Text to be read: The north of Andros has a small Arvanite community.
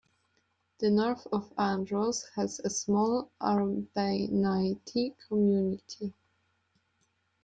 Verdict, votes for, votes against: accepted, 2, 0